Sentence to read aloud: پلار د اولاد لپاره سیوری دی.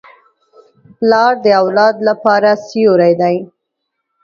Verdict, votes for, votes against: accepted, 2, 0